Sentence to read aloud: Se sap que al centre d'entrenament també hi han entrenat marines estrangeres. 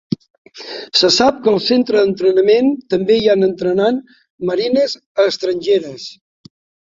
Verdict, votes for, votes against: rejected, 1, 2